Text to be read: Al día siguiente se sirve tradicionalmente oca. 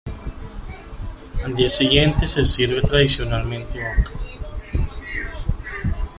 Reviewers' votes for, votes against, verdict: 2, 1, accepted